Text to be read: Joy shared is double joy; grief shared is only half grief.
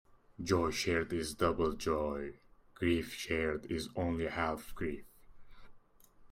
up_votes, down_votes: 2, 0